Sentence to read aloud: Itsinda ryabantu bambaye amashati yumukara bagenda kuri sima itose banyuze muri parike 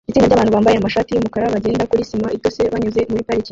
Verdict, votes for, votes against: rejected, 1, 2